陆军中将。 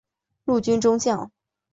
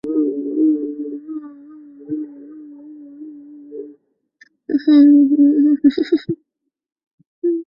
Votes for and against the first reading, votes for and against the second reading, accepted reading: 2, 0, 1, 3, first